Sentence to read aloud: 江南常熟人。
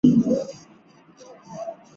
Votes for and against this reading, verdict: 1, 3, rejected